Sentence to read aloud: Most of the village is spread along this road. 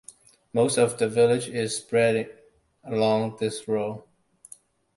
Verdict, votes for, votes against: accepted, 2, 0